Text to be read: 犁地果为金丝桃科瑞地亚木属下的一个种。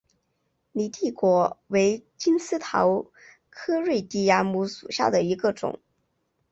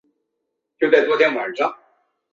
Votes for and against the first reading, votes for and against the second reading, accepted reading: 2, 0, 0, 3, first